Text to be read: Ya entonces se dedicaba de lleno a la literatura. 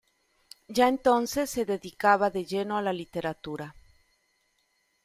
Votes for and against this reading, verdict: 2, 0, accepted